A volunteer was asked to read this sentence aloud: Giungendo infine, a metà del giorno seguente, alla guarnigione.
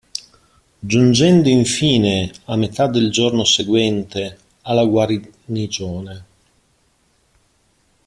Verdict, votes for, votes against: rejected, 0, 2